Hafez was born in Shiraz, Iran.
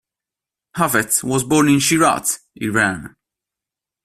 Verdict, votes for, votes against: accepted, 2, 1